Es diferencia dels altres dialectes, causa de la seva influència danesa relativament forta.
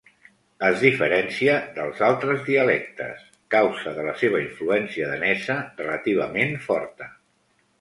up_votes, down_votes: 2, 0